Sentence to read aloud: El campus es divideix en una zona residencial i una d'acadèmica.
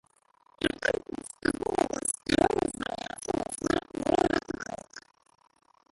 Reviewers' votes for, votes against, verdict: 1, 2, rejected